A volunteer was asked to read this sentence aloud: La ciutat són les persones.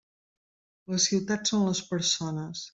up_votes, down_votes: 3, 1